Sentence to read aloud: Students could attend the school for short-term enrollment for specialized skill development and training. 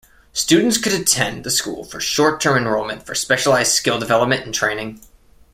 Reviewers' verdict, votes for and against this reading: accepted, 2, 0